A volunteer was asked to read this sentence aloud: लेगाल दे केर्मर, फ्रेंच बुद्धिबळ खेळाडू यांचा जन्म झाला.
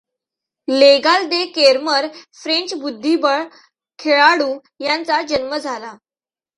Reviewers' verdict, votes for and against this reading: accepted, 2, 0